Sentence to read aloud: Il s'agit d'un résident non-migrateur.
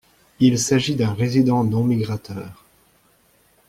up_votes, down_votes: 2, 0